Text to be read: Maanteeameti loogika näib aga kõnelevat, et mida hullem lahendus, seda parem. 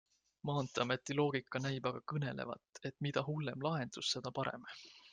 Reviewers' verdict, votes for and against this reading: accepted, 2, 0